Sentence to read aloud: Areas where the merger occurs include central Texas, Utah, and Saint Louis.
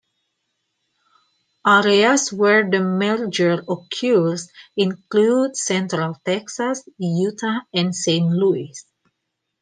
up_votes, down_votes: 2, 0